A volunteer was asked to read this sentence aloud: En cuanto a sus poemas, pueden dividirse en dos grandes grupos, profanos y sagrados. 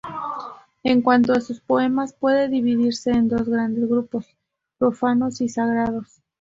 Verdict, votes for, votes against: rejected, 0, 4